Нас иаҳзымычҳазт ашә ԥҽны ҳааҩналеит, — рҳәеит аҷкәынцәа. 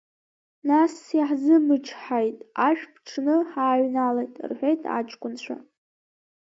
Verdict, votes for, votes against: accepted, 2, 1